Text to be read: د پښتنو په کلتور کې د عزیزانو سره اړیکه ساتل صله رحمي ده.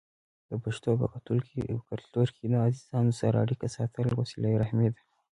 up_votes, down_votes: 1, 2